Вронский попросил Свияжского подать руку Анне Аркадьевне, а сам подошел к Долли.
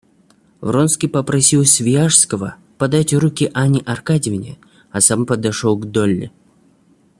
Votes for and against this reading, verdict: 1, 2, rejected